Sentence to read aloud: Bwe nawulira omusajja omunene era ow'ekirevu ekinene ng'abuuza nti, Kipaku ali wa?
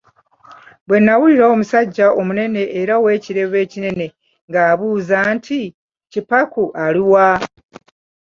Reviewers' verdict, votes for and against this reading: accepted, 2, 1